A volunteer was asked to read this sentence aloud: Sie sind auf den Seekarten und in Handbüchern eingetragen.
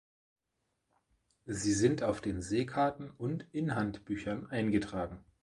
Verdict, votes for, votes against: accepted, 2, 0